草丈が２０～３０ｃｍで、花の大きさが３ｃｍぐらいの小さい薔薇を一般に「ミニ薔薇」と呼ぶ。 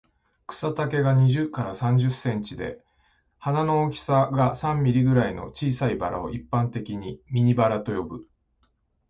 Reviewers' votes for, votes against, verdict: 0, 2, rejected